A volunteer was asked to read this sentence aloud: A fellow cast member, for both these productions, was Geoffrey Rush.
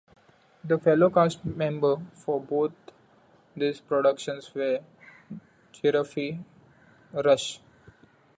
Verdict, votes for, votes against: rejected, 0, 2